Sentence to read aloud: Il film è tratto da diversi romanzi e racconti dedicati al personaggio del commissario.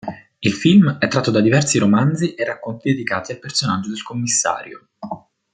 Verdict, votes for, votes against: accepted, 2, 0